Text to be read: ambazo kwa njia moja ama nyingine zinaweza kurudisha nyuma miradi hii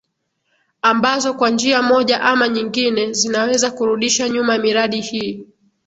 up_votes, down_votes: 2, 0